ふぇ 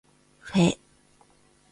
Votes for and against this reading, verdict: 2, 0, accepted